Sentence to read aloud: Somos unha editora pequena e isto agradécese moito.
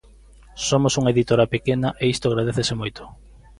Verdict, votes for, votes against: accepted, 2, 0